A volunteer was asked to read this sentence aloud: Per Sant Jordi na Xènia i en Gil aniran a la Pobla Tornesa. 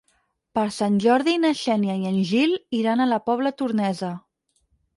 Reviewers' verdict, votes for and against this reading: rejected, 2, 4